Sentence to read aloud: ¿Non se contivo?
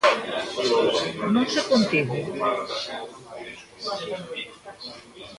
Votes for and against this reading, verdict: 0, 2, rejected